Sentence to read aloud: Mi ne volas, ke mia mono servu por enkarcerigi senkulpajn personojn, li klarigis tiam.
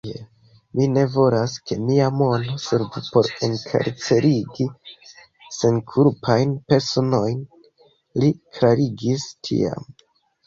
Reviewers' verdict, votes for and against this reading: accepted, 2, 0